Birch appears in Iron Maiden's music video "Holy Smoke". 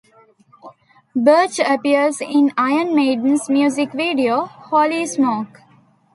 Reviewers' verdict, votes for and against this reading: accepted, 2, 0